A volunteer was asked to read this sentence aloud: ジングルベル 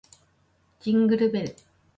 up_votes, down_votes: 2, 0